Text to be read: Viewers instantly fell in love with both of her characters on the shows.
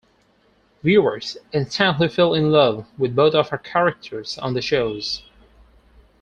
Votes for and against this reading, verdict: 2, 4, rejected